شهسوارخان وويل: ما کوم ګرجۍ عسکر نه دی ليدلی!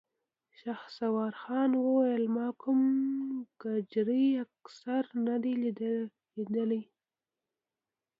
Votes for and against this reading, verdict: 0, 2, rejected